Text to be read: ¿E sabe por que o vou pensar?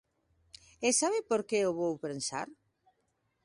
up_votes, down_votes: 2, 1